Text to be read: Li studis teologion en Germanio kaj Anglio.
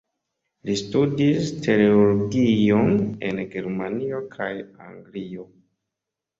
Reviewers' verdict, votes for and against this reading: accepted, 2, 0